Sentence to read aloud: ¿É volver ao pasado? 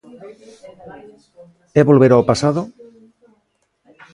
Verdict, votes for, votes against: accepted, 2, 1